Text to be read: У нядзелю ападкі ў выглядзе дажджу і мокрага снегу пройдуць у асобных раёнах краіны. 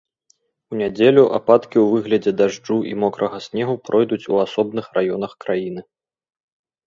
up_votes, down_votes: 2, 0